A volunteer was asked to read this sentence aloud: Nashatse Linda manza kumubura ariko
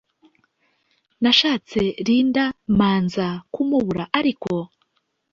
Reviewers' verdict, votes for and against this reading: accepted, 2, 0